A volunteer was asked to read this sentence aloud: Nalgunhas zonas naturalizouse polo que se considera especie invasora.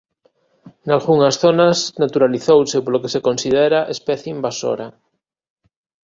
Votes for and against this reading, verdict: 2, 0, accepted